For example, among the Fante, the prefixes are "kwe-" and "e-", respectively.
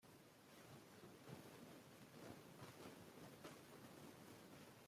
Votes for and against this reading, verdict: 0, 2, rejected